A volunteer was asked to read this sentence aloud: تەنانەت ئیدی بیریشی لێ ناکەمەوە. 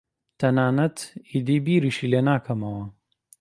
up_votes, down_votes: 2, 0